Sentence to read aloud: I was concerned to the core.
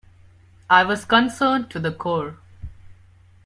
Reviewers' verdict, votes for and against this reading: accepted, 2, 0